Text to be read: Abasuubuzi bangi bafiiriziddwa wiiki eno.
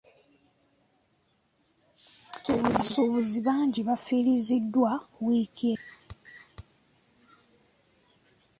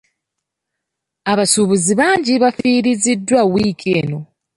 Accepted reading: second